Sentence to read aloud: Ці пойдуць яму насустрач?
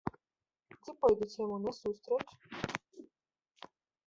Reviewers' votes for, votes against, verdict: 0, 2, rejected